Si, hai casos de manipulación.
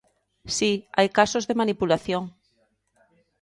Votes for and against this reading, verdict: 2, 0, accepted